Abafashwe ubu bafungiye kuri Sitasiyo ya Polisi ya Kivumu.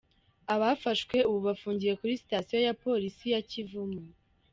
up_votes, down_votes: 1, 2